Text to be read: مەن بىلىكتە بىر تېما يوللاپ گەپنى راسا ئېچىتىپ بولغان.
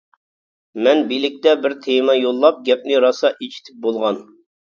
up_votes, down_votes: 2, 0